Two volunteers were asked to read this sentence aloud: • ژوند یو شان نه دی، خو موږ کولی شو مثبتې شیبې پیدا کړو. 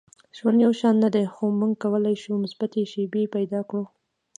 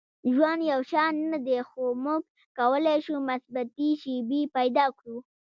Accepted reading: first